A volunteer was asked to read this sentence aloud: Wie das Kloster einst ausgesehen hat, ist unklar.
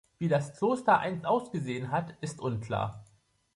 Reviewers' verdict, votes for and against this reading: accepted, 2, 1